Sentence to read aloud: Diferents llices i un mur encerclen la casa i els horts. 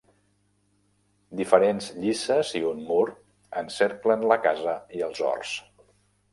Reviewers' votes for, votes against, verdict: 2, 0, accepted